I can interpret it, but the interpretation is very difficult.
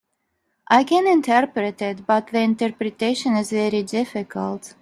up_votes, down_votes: 3, 0